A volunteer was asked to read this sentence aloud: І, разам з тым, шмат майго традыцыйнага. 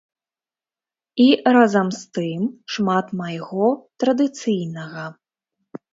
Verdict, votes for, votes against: accepted, 3, 0